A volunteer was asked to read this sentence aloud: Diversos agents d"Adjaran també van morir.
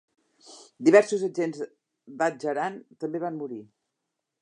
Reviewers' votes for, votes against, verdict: 1, 2, rejected